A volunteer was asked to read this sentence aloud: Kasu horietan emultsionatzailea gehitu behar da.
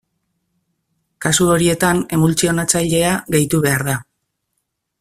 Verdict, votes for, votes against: accepted, 2, 0